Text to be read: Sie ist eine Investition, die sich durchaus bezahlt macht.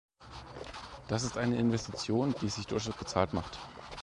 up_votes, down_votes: 1, 2